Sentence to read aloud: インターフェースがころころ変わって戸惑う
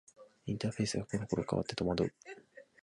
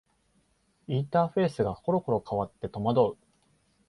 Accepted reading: second